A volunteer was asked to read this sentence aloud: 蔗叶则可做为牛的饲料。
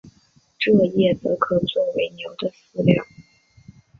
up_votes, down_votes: 2, 0